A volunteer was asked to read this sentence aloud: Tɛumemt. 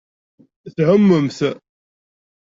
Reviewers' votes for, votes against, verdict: 2, 0, accepted